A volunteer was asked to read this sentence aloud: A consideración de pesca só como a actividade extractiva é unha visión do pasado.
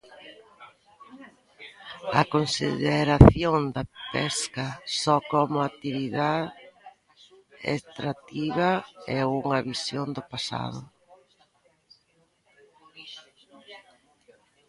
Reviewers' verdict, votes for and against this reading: rejected, 0, 2